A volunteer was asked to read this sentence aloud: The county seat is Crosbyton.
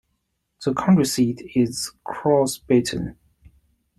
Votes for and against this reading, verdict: 0, 2, rejected